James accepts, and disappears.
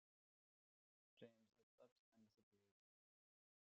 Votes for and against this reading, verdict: 0, 2, rejected